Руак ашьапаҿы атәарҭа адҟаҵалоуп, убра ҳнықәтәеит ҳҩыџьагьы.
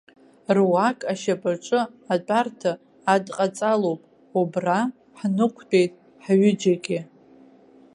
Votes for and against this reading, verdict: 2, 0, accepted